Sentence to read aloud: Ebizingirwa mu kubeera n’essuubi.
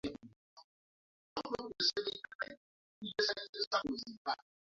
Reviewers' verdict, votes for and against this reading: rejected, 0, 2